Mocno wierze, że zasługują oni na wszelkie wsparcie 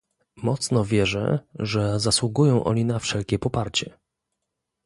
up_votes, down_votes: 0, 2